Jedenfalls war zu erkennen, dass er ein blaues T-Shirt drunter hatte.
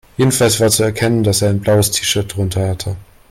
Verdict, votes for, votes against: accepted, 2, 0